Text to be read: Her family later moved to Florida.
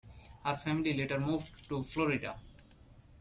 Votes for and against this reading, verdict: 2, 0, accepted